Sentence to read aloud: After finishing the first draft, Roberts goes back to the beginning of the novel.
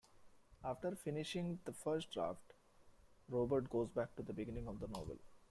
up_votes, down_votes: 0, 2